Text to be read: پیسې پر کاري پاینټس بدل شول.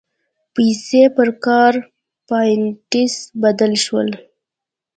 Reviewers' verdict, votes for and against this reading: rejected, 1, 2